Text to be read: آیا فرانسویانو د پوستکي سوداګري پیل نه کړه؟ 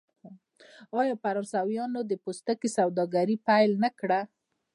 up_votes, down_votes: 0, 2